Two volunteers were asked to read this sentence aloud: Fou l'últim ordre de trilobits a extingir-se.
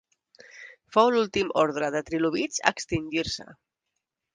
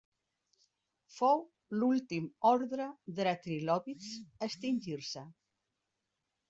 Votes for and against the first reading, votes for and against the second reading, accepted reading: 2, 0, 1, 2, first